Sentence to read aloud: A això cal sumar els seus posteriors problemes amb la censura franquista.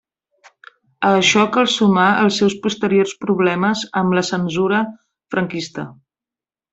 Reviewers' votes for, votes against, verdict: 1, 2, rejected